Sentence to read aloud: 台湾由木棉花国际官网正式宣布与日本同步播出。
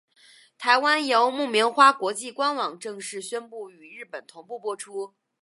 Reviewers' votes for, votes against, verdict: 3, 0, accepted